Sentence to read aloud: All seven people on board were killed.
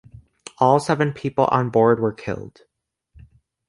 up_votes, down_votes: 2, 0